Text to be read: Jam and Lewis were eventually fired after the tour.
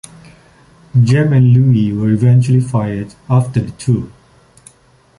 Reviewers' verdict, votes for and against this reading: rejected, 0, 2